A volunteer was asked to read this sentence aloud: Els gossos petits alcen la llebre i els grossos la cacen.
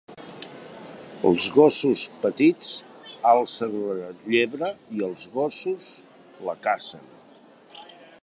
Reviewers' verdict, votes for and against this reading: rejected, 0, 2